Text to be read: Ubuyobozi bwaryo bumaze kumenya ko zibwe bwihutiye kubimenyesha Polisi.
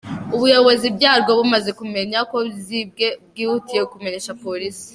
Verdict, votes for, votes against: rejected, 0, 3